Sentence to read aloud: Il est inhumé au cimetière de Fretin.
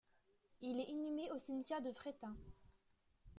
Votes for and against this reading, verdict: 2, 3, rejected